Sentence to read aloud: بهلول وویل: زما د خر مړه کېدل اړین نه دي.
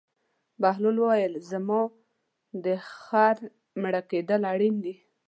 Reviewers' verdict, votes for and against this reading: rejected, 0, 2